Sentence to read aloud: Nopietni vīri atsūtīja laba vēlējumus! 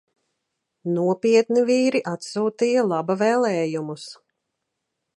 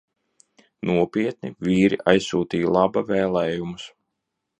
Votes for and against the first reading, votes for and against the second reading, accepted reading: 2, 0, 0, 2, first